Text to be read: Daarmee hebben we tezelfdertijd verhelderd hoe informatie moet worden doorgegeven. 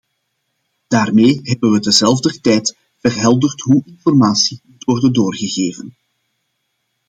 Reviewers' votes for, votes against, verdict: 1, 2, rejected